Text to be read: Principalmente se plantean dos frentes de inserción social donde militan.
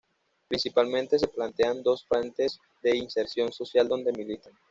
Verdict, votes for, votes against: accepted, 2, 0